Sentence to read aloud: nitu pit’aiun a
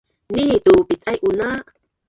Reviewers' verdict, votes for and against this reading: rejected, 2, 3